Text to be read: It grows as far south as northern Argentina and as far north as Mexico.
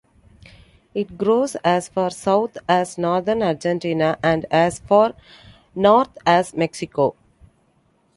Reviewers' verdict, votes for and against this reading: accepted, 2, 0